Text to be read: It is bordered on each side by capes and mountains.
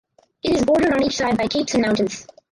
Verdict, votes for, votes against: rejected, 0, 4